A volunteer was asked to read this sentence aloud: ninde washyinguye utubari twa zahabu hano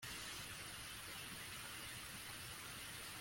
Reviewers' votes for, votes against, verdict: 1, 2, rejected